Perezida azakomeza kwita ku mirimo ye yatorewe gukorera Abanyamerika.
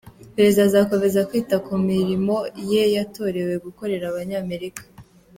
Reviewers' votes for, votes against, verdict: 3, 0, accepted